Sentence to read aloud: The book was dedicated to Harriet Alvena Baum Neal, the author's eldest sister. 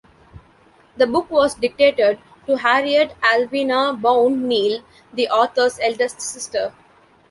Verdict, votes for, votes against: rejected, 0, 2